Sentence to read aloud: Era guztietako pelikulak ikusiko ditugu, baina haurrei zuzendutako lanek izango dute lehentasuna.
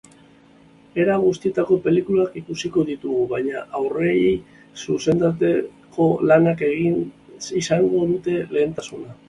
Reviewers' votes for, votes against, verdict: 0, 3, rejected